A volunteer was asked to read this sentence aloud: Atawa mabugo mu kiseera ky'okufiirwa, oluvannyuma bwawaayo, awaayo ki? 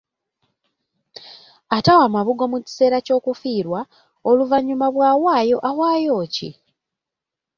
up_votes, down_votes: 3, 0